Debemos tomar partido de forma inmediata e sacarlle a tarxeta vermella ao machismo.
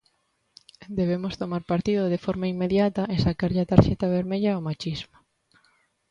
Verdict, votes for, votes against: accepted, 2, 0